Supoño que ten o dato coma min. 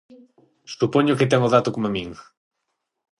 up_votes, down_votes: 3, 3